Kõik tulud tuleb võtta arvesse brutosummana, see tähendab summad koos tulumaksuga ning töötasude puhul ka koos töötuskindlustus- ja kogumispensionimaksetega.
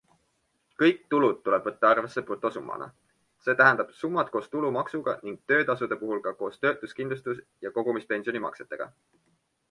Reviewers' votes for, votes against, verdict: 2, 0, accepted